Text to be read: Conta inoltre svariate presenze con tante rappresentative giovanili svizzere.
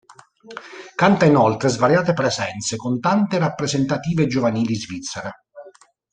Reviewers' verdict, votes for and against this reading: rejected, 1, 2